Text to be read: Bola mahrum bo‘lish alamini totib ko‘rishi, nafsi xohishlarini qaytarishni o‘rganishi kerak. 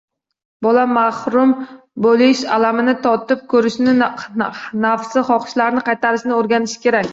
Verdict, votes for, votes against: rejected, 0, 2